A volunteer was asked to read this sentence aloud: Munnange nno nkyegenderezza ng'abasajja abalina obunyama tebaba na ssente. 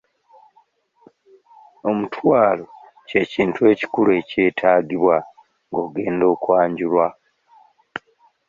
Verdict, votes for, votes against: rejected, 1, 2